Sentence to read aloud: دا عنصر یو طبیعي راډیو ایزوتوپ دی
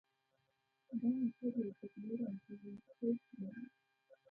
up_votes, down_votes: 0, 2